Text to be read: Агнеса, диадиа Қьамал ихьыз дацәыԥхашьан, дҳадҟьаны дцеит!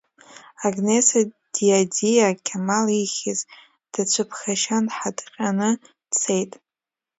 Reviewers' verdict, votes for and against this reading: rejected, 1, 2